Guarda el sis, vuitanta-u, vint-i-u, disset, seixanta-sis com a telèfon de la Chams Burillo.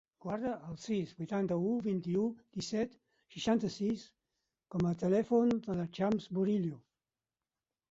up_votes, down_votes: 2, 4